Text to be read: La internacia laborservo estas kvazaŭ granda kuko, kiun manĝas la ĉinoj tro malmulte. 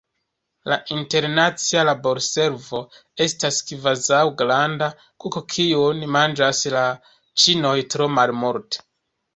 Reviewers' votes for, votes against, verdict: 1, 2, rejected